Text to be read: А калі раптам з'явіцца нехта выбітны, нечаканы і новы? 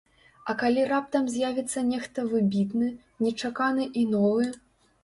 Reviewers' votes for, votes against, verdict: 2, 0, accepted